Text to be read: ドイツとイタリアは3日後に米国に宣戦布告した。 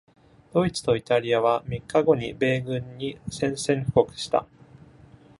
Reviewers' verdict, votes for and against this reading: rejected, 0, 2